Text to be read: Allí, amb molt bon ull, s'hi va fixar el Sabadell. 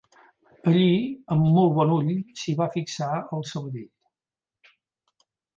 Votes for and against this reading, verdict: 3, 0, accepted